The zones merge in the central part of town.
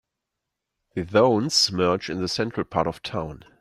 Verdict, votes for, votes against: accepted, 2, 1